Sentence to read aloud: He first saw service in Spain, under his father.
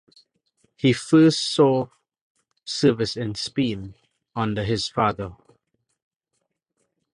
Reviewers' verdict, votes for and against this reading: rejected, 1, 2